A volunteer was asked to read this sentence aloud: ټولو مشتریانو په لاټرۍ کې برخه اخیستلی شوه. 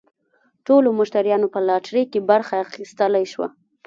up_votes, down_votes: 0, 2